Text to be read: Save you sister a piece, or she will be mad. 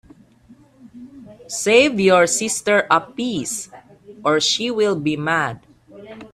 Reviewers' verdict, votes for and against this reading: rejected, 0, 2